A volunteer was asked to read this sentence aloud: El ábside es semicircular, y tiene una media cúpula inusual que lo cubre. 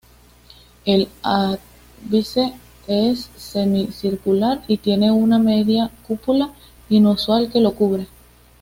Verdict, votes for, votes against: accepted, 2, 0